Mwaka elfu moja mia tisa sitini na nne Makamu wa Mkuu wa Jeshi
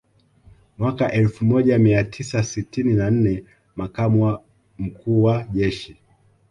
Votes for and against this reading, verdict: 2, 1, accepted